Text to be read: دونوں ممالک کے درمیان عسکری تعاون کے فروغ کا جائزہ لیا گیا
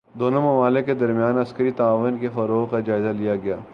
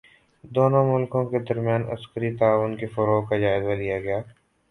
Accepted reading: first